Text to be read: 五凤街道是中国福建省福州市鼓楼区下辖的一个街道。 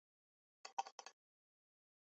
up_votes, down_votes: 0, 2